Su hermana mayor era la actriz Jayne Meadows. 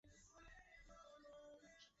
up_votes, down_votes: 2, 0